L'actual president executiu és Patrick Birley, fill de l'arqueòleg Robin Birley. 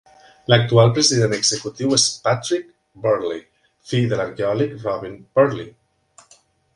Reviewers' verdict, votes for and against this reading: accepted, 2, 0